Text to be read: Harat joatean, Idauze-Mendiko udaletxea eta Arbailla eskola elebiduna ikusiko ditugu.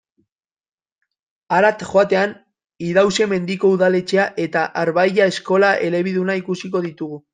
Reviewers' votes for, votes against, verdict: 2, 0, accepted